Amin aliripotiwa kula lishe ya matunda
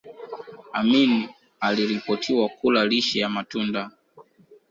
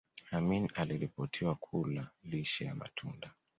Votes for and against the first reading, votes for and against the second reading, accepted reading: 1, 2, 2, 0, second